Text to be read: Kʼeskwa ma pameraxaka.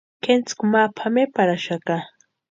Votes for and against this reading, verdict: 0, 2, rejected